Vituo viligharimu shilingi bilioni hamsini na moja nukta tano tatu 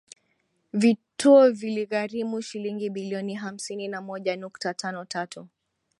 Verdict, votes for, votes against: accepted, 2, 0